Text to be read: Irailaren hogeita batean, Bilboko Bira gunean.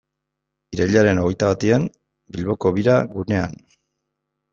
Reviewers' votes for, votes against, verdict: 2, 0, accepted